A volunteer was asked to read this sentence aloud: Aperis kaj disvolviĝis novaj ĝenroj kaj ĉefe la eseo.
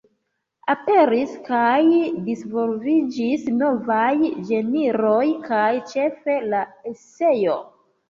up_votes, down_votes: 2, 3